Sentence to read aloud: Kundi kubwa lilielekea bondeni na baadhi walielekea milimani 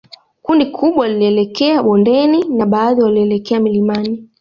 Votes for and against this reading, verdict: 3, 2, accepted